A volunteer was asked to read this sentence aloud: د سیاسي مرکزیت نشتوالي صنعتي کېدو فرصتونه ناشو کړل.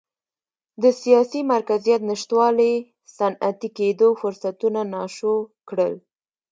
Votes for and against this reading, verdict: 1, 2, rejected